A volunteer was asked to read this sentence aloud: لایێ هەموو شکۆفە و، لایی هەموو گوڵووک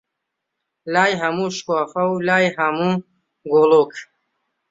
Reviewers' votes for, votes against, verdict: 1, 2, rejected